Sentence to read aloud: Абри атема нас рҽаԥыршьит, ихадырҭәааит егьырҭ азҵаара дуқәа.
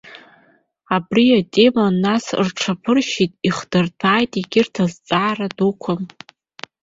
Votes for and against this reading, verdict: 0, 2, rejected